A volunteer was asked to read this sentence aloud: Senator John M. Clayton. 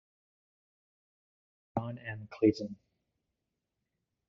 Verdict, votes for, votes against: rejected, 0, 2